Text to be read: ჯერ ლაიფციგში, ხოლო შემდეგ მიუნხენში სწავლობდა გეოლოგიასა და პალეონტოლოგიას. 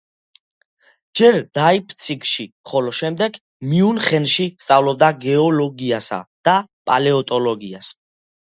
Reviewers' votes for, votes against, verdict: 2, 0, accepted